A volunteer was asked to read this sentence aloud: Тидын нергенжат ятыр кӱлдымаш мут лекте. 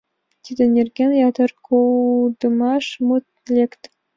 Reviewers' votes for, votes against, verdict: 2, 3, rejected